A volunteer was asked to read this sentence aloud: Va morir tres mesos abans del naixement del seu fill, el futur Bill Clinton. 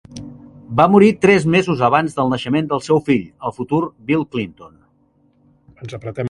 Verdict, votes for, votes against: rejected, 0, 2